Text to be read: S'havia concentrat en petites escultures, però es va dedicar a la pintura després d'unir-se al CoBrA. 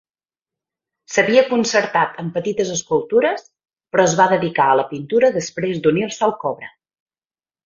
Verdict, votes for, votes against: rejected, 2, 4